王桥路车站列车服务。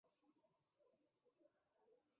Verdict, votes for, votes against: accepted, 2, 1